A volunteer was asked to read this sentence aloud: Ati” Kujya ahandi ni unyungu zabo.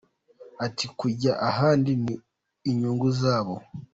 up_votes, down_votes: 2, 1